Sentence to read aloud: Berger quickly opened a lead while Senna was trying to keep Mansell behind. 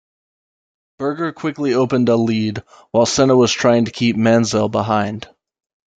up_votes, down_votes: 2, 1